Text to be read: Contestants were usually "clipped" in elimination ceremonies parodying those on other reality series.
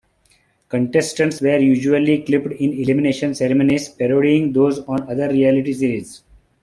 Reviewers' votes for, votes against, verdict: 1, 2, rejected